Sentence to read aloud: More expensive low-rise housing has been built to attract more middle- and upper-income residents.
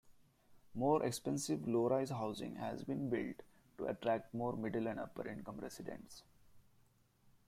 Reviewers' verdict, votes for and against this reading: accepted, 2, 0